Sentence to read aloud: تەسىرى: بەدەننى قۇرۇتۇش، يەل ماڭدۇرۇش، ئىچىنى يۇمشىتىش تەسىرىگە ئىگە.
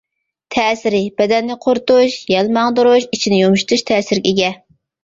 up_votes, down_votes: 1, 2